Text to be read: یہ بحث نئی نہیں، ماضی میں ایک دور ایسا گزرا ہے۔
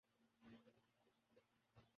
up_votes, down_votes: 0, 2